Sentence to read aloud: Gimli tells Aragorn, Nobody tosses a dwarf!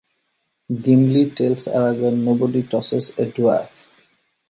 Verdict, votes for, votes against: accepted, 2, 0